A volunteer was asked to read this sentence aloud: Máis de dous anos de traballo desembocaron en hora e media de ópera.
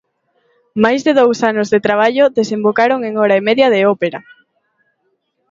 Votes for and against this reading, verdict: 2, 0, accepted